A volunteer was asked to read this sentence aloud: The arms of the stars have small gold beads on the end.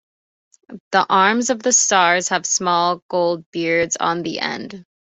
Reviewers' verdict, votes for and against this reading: accepted, 2, 0